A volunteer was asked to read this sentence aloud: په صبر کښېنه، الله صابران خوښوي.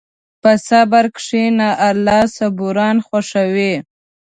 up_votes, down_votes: 0, 2